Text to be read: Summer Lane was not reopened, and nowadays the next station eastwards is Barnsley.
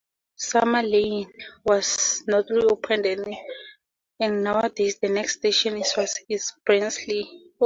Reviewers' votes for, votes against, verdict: 2, 0, accepted